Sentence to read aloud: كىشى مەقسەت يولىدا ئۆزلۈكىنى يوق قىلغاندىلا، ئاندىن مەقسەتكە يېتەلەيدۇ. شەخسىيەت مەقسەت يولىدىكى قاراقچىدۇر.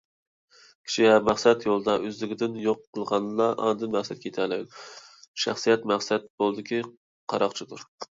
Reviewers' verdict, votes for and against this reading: rejected, 1, 2